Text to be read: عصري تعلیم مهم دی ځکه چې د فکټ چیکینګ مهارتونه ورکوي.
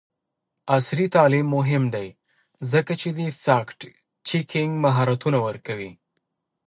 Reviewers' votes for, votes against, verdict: 2, 1, accepted